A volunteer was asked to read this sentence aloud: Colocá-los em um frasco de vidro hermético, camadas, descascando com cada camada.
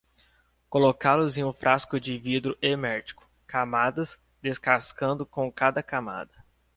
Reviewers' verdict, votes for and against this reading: accepted, 2, 0